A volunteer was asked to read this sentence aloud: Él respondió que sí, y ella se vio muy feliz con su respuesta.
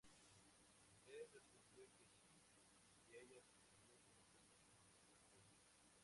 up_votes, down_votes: 0, 4